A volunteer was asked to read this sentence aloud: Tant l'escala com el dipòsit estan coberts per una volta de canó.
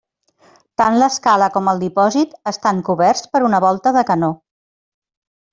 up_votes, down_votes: 3, 0